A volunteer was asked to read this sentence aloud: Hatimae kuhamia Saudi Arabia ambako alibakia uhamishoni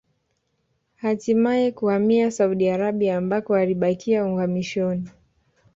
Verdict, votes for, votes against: accepted, 4, 0